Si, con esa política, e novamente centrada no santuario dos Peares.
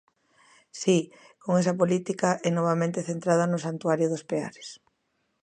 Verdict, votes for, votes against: accepted, 2, 0